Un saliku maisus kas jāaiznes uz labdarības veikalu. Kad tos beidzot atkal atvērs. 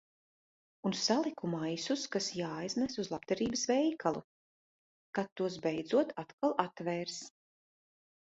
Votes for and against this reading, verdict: 2, 0, accepted